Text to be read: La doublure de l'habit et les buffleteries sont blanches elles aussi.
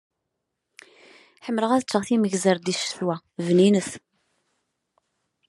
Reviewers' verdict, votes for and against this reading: rejected, 1, 2